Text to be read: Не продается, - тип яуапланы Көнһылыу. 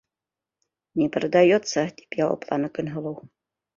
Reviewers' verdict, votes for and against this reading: accepted, 2, 0